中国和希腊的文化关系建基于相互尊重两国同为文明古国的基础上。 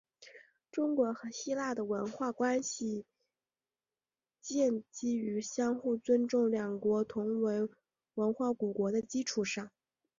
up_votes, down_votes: 3, 1